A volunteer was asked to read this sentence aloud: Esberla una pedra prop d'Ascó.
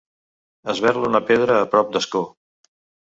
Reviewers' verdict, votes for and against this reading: rejected, 0, 2